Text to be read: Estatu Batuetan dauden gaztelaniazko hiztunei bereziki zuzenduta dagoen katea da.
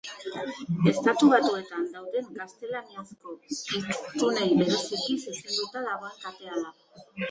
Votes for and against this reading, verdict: 1, 2, rejected